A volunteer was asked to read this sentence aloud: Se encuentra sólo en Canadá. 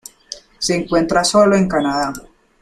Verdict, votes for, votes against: accepted, 2, 0